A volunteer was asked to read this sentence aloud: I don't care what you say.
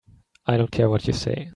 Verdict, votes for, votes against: accepted, 3, 0